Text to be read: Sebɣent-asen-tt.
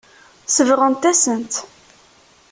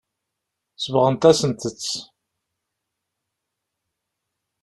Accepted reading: first